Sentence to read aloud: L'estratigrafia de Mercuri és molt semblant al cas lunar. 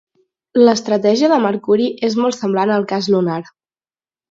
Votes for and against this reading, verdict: 0, 4, rejected